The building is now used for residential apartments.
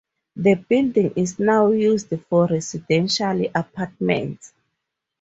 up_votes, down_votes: 2, 0